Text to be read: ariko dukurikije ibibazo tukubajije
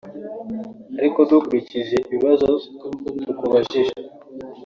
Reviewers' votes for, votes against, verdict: 2, 1, accepted